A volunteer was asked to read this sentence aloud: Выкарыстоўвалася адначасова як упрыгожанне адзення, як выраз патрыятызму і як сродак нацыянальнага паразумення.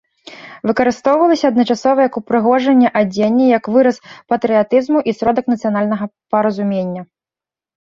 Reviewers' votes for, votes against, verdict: 1, 2, rejected